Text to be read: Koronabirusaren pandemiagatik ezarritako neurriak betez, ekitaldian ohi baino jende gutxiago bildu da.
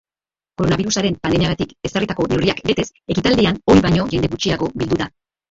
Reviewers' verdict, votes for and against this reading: rejected, 0, 3